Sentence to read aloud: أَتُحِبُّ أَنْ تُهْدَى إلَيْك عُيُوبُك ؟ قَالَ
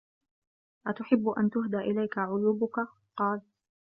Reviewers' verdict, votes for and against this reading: accepted, 2, 0